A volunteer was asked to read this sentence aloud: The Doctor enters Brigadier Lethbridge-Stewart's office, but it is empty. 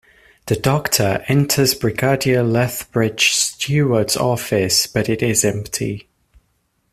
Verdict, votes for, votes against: rejected, 1, 2